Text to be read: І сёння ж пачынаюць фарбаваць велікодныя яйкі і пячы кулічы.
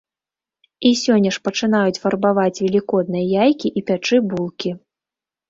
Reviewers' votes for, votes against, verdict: 0, 2, rejected